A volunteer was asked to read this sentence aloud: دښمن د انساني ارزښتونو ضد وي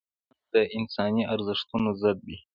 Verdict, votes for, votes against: rejected, 0, 2